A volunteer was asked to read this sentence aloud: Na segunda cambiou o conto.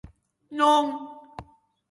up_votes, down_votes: 0, 2